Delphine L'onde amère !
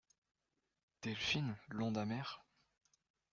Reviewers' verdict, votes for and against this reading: accepted, 2, 1